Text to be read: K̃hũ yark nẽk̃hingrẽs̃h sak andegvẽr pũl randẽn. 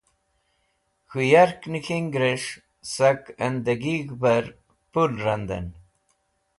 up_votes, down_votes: 1, 2